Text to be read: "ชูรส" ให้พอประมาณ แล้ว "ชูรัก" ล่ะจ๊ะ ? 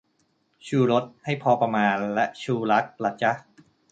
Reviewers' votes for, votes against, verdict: 2, 0, accepted